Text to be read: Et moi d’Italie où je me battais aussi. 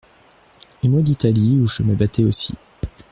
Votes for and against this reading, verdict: 2, 0, accepted